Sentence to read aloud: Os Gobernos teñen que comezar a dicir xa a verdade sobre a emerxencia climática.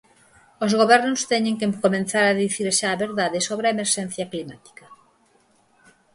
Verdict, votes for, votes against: rejected, 0, 4